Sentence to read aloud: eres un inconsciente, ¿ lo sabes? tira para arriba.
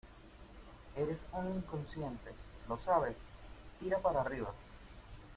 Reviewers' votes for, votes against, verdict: 1, 2, rejected